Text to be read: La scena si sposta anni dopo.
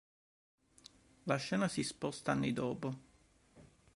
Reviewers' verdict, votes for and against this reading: accepted, 2, 0